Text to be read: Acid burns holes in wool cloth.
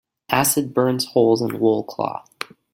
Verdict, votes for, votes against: accepted, 2, 0